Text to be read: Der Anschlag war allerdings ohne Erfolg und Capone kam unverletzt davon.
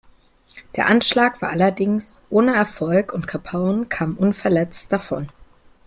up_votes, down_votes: 2, 0